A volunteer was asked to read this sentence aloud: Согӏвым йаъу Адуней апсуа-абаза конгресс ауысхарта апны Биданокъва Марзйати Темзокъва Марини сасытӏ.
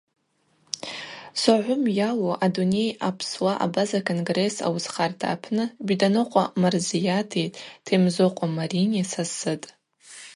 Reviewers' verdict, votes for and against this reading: rejected, 2, 2